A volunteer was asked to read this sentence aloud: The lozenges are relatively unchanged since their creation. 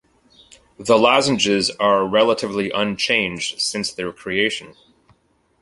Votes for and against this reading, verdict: 2, 0, accepted